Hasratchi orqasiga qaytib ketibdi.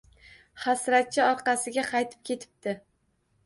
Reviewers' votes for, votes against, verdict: 2, 0, accepted